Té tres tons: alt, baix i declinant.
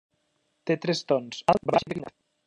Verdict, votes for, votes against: rejected, 0, 2